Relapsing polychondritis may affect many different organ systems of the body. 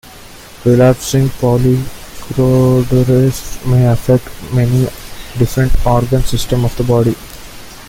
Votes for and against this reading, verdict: 0, 2, rejected